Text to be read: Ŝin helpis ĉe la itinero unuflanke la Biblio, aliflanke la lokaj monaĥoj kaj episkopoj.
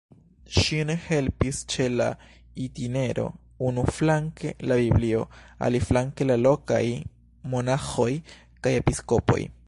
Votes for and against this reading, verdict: 2, 3, rejected